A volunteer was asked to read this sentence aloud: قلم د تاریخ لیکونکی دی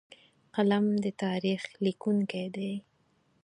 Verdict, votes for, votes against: accepted, 4, 0